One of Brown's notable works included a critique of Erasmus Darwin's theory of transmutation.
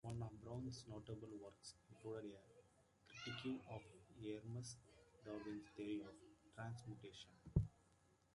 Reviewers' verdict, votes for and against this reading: rejected, 0, 2